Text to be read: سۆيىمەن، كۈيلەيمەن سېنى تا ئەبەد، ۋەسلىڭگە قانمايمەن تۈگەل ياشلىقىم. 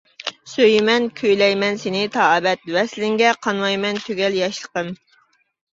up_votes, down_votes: 2, 0